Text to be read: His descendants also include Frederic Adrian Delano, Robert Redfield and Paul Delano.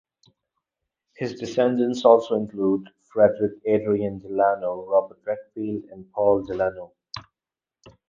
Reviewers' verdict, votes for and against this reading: accepted, 4, 0